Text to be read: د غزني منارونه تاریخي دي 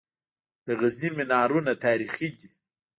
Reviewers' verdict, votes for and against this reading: rejected, 1, 3